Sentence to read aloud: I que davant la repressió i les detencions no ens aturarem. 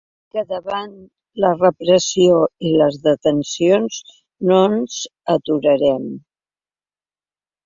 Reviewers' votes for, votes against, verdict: 1, 3, rejected